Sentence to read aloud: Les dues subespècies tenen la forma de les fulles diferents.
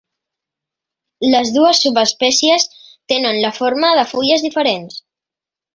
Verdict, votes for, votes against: rejected, 2, 3